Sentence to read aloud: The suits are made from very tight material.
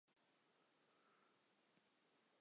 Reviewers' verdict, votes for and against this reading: rejected, 0, 2